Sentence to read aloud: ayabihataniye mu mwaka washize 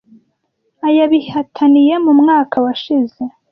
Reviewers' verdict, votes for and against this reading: accepted, 2, 0